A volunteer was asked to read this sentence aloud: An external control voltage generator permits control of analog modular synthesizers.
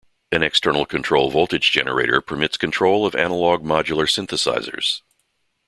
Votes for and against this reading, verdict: 2, 0, accepted